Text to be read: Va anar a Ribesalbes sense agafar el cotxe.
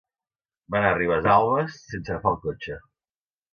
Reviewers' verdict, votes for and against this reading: accepted, 2, 1